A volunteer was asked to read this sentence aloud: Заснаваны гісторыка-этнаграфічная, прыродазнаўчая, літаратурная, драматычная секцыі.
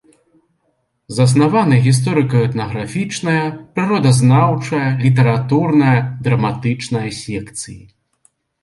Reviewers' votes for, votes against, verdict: 3, 0, accepted